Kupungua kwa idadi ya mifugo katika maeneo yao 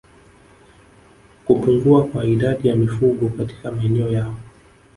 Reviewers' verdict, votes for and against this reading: accepted, 3, 0